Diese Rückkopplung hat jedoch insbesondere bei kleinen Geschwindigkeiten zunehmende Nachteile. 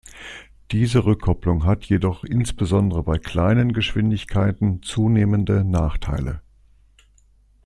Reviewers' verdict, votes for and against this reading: accepted, 2, 0